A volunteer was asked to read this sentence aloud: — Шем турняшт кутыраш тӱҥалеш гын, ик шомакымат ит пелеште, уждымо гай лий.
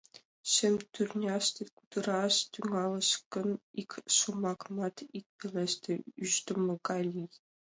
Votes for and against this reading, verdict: 0, 2, rejected